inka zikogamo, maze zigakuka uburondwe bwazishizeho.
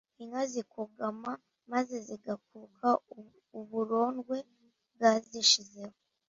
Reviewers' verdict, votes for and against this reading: accepted, 2, 1